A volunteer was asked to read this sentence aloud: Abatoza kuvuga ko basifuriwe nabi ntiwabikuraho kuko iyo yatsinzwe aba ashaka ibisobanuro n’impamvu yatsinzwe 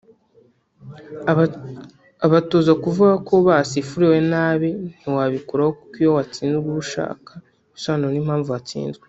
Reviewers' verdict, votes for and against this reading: rejected, 1, 3